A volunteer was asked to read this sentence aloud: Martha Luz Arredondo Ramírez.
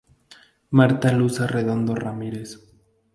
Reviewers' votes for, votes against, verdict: 2, 0, accepted